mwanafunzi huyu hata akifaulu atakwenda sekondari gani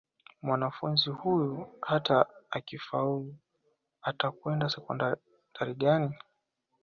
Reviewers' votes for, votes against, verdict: 1, 2, rejected